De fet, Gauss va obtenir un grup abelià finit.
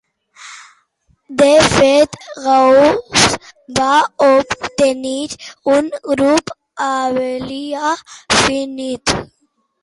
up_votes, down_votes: 1, 2